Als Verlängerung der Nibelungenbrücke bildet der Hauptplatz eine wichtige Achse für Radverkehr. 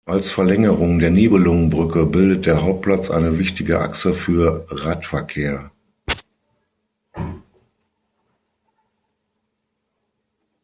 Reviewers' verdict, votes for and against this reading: accepted, 6, 0